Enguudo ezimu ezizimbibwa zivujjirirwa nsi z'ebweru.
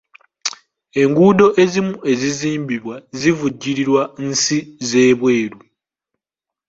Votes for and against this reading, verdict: 2, 1, accepted